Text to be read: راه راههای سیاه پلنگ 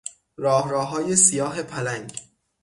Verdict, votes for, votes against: accepted, 6, 0